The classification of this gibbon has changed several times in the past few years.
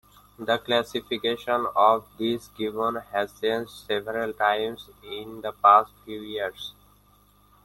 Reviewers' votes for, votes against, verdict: 2, 0, accepted